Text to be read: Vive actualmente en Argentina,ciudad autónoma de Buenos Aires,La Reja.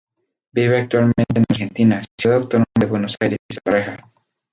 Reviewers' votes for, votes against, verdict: 2, 2, rejected